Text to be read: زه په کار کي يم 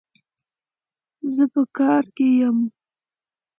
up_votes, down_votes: 2, 0